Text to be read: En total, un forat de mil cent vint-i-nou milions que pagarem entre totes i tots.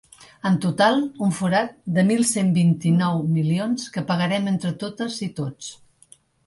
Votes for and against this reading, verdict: 3, 0, accepted